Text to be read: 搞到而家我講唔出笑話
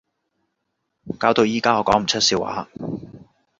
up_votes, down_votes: 1, 2